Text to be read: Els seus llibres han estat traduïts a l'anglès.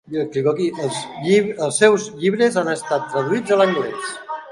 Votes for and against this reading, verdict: 0, 2, rejected